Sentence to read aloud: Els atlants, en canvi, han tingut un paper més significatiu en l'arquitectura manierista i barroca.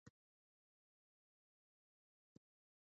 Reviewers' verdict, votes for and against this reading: rejected, 0, 4